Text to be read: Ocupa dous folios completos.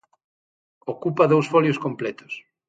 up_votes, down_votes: 6, 0